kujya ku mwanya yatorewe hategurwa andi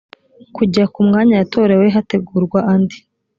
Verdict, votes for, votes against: accepted, 2, 0